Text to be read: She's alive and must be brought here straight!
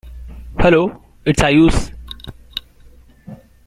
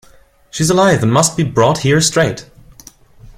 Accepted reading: second